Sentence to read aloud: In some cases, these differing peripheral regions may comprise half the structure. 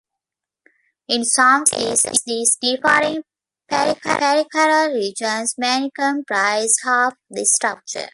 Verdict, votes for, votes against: rejected, 0, 2